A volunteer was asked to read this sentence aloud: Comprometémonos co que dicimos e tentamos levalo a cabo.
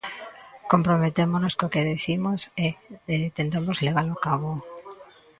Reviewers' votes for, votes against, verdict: 0, 2, rejected